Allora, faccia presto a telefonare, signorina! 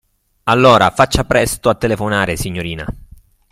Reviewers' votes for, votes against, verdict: 2, 1, accepted